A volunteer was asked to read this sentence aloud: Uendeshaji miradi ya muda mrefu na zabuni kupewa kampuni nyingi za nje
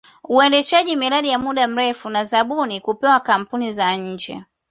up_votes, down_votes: 1, 2